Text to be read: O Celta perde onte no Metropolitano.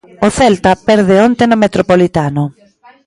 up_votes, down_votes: 1, 2